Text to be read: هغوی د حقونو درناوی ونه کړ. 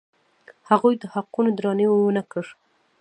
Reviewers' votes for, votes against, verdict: 1, 2, rejected